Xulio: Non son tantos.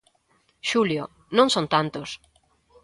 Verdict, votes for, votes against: accepted, 2, 0